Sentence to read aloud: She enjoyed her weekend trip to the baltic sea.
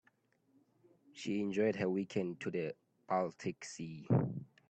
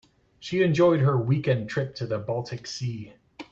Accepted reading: second